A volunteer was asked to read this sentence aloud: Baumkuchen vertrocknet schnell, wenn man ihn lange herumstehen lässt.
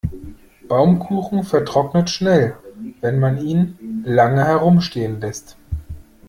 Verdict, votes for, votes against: accepted, 2, 0